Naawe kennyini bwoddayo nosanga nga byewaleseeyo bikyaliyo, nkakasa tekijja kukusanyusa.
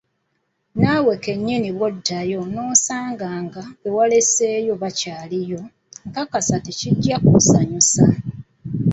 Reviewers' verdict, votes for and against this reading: rejected, 1, 2